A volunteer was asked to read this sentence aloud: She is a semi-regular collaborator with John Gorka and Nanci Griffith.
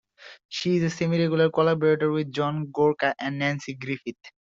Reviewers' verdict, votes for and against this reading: accepted, 2, 0